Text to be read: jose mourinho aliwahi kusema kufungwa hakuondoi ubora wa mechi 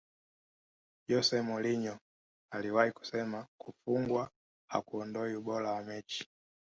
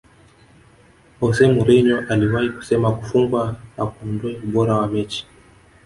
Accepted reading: second